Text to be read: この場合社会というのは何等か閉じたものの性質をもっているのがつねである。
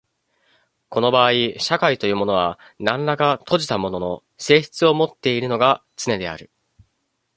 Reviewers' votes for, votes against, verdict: 1, 2, rejected